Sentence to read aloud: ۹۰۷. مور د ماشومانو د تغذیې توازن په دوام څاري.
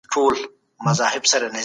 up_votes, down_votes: 0, 2